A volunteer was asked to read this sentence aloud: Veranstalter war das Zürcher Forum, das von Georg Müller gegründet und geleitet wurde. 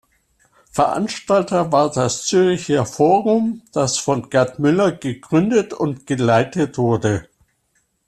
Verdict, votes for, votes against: rejected, 0, 2